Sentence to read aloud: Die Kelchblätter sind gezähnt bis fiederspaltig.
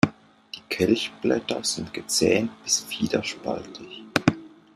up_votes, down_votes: 2, 0